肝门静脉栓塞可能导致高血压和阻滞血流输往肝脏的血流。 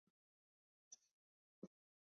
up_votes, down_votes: 0, 2